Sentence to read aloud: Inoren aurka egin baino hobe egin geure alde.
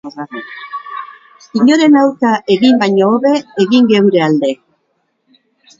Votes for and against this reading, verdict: 2, 2, rejected